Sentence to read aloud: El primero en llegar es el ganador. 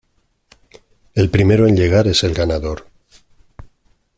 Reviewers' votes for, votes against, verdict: 2, 0, accepted